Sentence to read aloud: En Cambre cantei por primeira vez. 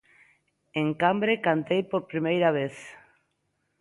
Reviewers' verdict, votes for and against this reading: accepted, 2, 0